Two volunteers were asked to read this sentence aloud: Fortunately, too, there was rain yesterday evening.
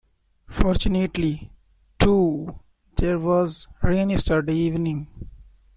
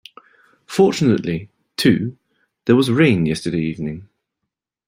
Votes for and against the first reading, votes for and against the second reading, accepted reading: 0, 2, 3, 0, second